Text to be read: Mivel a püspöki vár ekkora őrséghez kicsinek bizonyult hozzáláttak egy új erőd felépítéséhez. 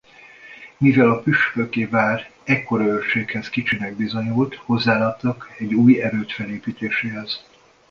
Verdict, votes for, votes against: rejected, 1, 2